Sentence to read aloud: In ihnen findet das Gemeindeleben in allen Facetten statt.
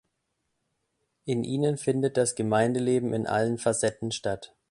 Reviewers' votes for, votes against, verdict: 2, 0, accepted